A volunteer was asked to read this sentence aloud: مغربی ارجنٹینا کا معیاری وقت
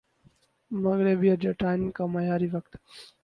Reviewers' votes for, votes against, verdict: 0, 2, rejected